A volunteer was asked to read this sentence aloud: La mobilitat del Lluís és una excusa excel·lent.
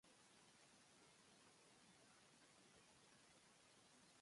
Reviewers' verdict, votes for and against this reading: rejected, 0, 2